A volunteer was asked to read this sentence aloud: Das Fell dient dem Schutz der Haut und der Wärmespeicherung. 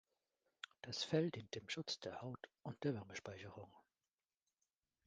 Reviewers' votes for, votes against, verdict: 0, 2, rejected